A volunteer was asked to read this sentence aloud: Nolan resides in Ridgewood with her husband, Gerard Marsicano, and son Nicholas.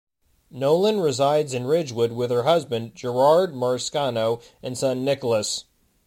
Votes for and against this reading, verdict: 2, 1, accepted